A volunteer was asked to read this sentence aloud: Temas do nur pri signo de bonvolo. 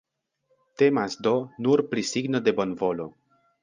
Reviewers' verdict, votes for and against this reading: accepted, 2, 0